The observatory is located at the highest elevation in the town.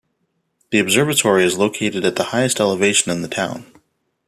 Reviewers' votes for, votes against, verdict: 2, 0, accepted